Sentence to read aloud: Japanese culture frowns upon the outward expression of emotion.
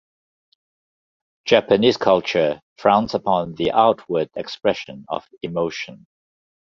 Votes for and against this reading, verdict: 2, 0, accepted